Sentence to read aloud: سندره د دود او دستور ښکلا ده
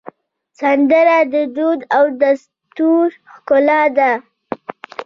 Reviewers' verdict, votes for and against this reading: rejected, 0, 2